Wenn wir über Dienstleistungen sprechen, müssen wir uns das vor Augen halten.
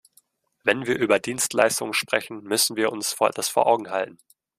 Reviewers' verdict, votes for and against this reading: rejected, 1, 2